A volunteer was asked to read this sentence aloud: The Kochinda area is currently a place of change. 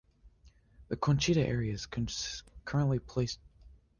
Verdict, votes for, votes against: rejected, 0, 3